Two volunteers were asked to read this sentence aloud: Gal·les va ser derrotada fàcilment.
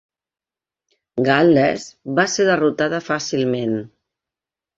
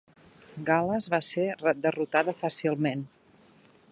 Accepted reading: first